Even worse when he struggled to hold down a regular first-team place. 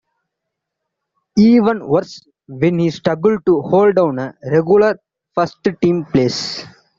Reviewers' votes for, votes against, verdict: 0, 2, rejected